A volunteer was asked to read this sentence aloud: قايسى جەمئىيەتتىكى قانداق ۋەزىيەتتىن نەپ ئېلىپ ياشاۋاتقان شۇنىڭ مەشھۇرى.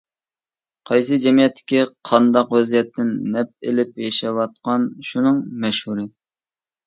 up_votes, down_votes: 2, 0